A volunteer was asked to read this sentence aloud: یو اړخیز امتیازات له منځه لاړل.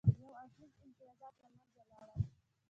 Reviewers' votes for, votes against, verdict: 1, 2, rejected